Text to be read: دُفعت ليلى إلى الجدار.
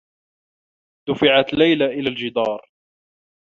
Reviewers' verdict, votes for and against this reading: accepted, 2, 0